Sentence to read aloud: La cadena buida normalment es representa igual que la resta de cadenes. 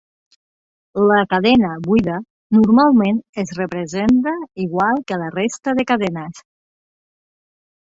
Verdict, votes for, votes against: rejected, 0, 2